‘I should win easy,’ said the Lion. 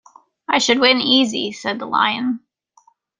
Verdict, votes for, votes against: rejected, 1, 2